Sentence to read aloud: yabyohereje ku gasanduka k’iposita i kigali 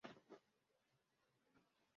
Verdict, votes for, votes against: rejected, 0, 2